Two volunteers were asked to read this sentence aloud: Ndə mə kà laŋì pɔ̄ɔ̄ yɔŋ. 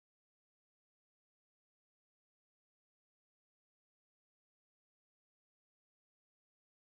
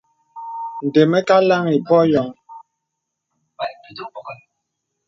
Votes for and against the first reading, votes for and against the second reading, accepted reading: 0, 2, 2, 0, second